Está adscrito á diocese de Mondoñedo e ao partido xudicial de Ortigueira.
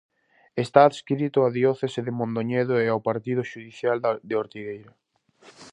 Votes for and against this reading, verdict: 0, 2, rejected